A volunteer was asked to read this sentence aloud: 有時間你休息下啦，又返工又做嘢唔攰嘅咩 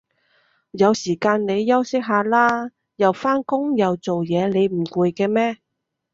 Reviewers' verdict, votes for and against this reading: rejected, 1, 2